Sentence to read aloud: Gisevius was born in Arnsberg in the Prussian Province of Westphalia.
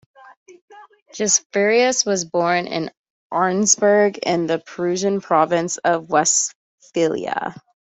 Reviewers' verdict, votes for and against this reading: rejected, 0, 2